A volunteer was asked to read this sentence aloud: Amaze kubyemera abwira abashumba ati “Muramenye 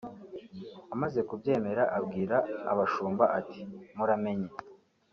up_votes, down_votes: 2, 0